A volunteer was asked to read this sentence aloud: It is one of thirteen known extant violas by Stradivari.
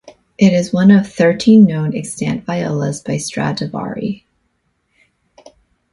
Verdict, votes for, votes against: accepted, 2, 0